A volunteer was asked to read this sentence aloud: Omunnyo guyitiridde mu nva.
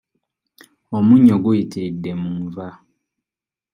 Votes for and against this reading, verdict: 2, 0, accepted